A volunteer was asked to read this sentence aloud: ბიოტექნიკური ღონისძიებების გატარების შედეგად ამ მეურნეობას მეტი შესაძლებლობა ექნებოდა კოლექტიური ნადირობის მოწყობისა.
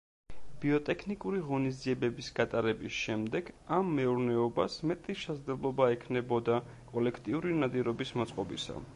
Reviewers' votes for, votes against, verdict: 0, 2, rejected